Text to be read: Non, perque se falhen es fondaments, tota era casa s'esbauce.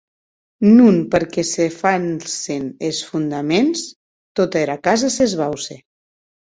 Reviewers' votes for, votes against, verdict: 0, 2, rejected